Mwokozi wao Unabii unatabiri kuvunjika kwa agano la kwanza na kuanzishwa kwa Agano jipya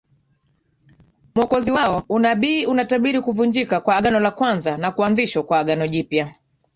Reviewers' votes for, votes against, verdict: 2, 1, accepted